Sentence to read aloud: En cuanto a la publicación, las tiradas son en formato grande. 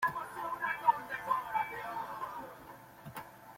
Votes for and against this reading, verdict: 0, 2, rejected